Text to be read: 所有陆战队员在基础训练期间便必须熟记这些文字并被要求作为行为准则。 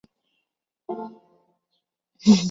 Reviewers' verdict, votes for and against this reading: rejected, 0, 2